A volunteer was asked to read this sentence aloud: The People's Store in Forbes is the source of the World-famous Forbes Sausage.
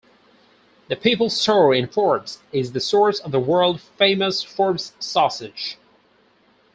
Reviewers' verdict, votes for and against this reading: accepted, 4, 2